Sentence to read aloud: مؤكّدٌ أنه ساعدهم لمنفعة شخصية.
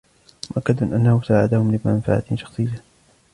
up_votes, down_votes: 2, 0